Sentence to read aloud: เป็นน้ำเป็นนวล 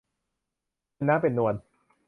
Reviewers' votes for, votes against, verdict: 1, 2, rejected